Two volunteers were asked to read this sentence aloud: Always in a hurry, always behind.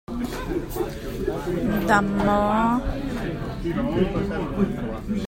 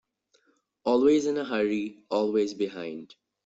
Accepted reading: second